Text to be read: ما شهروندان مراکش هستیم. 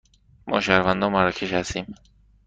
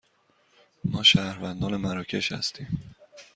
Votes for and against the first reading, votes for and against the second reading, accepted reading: 1, 2, 2, 0, second